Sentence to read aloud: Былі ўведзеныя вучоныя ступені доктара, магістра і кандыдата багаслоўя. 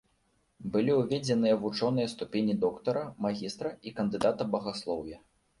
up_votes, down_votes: 1, 2